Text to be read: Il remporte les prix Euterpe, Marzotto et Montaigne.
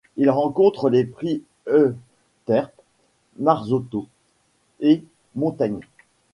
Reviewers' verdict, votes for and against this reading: rejected, 1, 2